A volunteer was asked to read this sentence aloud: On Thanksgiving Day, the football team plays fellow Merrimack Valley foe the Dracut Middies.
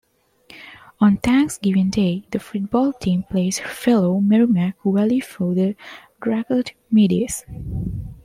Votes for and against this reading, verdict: 2, 0, accepted